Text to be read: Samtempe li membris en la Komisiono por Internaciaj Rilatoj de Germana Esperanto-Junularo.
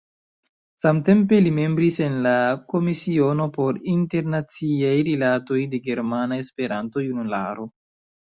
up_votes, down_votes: 2, 1